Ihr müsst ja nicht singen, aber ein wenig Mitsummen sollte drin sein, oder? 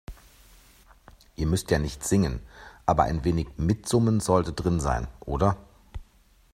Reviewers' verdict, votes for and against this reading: accepted, 2, 0